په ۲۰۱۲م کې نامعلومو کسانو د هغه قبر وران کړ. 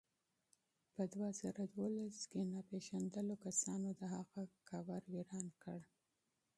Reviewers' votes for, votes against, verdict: 0, 2, rejected